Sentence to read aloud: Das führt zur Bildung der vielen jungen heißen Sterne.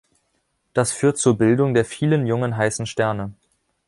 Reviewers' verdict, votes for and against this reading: accepted, 3, 0